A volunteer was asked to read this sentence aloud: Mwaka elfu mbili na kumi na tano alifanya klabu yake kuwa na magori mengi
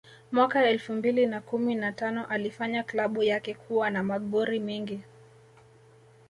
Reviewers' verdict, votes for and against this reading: accepted, 2, 1